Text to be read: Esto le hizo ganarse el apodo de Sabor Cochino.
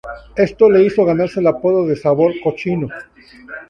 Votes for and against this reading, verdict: 2, 0, accepted